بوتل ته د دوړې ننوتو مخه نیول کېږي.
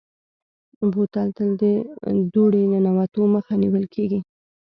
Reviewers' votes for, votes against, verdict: 2, 0, accepted